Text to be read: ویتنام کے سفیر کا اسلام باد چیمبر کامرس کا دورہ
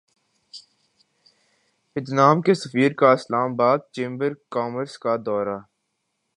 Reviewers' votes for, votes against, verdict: 1, 2, rejected